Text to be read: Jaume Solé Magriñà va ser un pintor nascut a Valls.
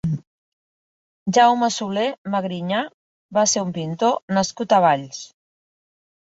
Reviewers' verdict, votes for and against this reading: accepted, 2, 0